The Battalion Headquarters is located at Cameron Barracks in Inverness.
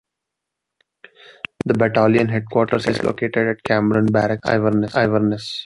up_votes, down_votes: 1, 2